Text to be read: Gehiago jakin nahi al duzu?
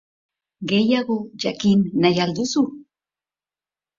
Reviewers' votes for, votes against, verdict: 2, 0, accepted